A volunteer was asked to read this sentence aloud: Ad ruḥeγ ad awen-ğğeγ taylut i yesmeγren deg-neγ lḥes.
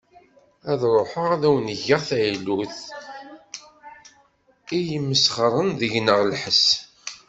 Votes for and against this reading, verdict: 1, 2, rejected